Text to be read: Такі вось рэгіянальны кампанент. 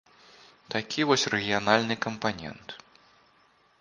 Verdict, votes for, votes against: accepted, 2, 0